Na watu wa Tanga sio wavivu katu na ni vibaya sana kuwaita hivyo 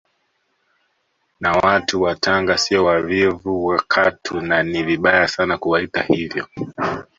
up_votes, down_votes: 2, 0